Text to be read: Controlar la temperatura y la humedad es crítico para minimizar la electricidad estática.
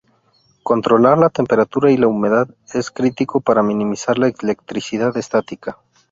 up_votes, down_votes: 0, 2